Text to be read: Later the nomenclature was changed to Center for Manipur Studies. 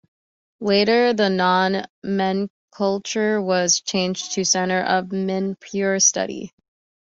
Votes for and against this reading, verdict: 0, 2, rejected